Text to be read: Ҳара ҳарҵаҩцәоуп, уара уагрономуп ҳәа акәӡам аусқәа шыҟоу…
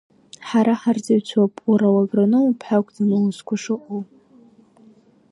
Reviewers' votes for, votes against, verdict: 2, 0, accepted